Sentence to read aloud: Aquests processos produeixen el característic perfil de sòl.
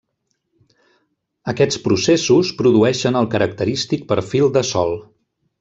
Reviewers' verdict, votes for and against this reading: accepted, 3, 0